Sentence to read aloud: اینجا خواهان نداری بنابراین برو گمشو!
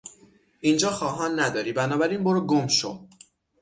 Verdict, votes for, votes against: accepted, 6, 0